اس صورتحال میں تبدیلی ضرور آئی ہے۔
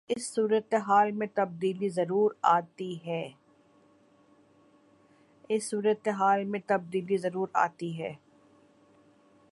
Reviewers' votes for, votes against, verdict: 0, 2, rejected